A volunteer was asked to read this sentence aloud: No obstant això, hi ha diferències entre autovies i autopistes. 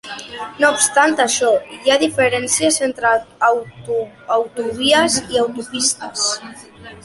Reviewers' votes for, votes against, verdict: 1, 2, rejected